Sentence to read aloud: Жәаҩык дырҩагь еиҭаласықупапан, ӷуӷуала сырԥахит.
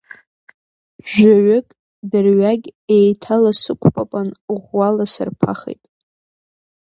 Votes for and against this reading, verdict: 1, 2, rejected